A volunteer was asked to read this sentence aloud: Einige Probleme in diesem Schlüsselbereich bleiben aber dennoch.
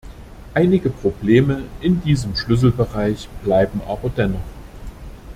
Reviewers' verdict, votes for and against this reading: accepted, 2, 0